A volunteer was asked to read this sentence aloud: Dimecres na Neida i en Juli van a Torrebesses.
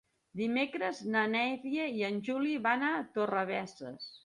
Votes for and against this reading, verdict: 1, 2, rejected